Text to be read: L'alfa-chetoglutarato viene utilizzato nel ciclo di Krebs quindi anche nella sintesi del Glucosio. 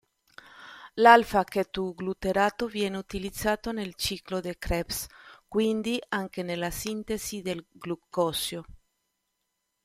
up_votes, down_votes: 1, 2